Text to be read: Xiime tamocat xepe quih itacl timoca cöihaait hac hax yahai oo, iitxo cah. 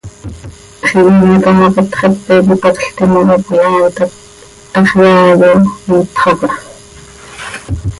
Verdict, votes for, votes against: rejected, 0, 2